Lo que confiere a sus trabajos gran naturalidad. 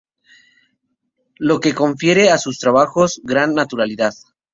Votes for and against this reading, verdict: 0, 2, rejected